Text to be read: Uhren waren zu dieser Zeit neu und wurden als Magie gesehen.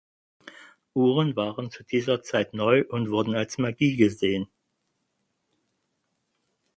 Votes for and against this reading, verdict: 4, 0, accepted